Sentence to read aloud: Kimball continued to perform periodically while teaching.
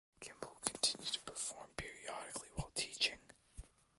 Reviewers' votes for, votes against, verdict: 2, 0, accepted